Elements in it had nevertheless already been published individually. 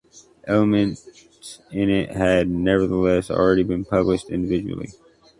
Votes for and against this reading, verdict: 2, 0, accepted